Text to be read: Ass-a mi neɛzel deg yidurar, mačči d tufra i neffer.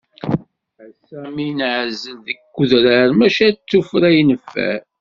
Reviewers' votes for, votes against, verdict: 1, 2, rejected